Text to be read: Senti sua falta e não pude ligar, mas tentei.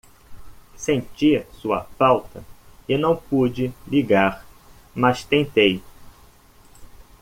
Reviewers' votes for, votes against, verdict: 2, 0, accepted